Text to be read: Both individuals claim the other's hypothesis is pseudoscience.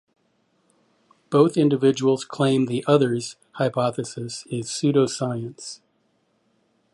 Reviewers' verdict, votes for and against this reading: accepted, 2, 0